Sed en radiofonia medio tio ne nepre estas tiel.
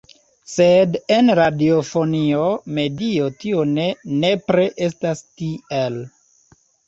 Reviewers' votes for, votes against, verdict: 0, 2, rejected